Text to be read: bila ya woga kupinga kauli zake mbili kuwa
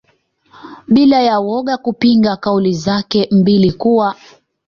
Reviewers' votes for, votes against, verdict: 2, 0, accepted